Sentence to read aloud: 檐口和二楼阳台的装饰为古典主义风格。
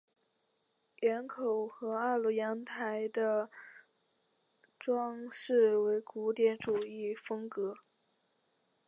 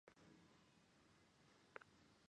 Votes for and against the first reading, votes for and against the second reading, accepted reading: 2, 0, 0, 5, first